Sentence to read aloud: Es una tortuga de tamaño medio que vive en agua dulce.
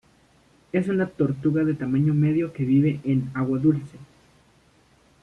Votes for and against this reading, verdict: 1, 2, rejected